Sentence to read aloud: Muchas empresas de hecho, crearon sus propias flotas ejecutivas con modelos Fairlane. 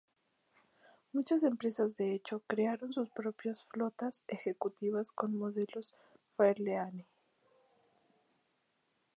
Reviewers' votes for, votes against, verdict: 2, 0, accepted